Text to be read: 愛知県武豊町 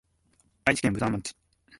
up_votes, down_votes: 2, 0